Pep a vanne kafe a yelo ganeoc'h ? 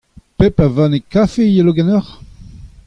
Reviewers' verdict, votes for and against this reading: accepted, 2, 0